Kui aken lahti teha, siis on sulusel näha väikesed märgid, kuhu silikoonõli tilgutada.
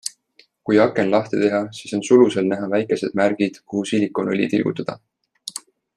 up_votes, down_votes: 2, 0